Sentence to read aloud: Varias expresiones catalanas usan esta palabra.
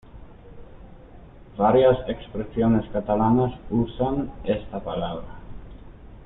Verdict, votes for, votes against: accepted, 2, 0